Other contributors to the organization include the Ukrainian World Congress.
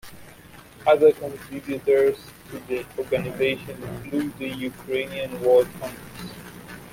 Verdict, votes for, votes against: rejected, 1, 2